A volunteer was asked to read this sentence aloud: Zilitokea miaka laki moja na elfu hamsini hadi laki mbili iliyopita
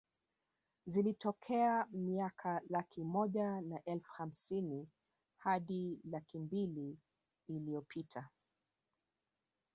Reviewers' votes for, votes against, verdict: 1, 2, rejected